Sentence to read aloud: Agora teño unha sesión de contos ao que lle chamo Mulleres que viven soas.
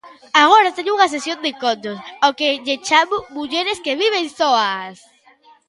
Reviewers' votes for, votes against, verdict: 1, 2, rejected